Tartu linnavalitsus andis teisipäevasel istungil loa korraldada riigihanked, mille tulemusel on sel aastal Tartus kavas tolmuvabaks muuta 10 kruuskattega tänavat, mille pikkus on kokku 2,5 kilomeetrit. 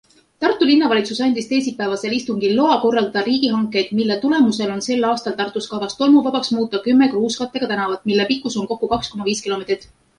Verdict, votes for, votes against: rejected, 0, 2